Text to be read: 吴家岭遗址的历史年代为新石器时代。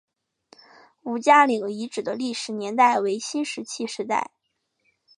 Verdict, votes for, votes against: accepted, 2, 0